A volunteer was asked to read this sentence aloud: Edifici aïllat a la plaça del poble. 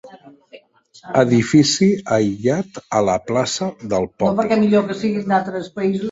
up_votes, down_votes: 1, 2